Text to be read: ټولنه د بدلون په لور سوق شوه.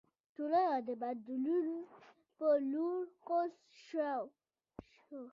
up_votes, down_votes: 0, 2